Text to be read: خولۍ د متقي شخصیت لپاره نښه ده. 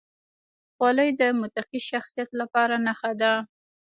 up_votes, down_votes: 1, 3